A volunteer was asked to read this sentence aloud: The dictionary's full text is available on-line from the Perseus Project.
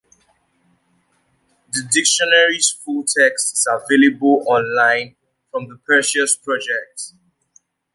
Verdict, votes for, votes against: accepted, 2, 0